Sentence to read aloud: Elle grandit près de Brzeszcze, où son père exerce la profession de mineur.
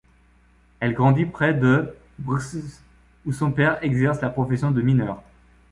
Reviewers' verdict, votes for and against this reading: rejected, 0, 2